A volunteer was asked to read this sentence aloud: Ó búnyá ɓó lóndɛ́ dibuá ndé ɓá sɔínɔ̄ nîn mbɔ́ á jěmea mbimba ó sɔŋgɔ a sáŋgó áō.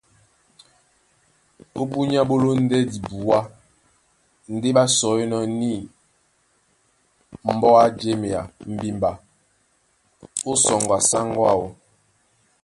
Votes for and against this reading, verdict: 3, 0, accepted